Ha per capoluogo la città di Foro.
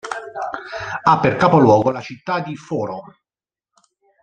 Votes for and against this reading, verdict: 2, 1, accepted